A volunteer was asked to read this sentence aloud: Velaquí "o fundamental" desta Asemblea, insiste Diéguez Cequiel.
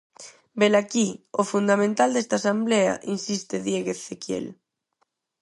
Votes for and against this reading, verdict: 0, 4, rejected